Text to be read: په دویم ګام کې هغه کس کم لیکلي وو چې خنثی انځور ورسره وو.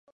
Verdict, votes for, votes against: rejected, 0, 2